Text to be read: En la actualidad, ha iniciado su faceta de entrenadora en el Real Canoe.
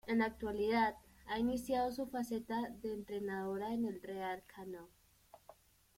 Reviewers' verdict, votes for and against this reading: accepted, 2, 0